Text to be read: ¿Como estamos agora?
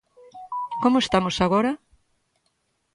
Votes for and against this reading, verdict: 2, 0, accepted